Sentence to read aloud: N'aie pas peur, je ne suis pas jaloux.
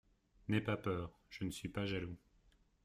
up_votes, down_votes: 2, 0